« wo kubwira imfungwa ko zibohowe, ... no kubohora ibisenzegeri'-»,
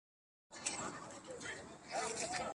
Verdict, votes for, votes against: rejected, 0, 2